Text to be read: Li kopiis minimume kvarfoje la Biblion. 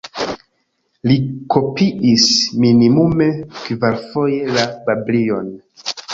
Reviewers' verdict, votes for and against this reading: rejected, 1, 2